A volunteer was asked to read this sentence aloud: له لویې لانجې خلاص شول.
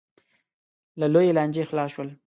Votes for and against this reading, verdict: 2, 0, accepted